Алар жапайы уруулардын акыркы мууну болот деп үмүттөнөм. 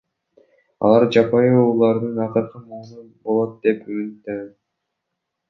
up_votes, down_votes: 0, 2